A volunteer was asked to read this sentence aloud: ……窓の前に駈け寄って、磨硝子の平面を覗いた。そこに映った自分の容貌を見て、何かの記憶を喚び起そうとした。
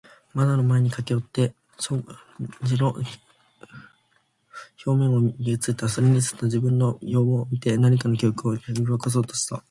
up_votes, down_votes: 0, 2